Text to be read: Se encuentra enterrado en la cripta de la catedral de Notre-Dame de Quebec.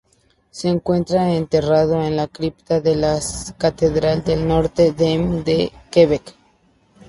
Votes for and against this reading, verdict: 0, 2, rejected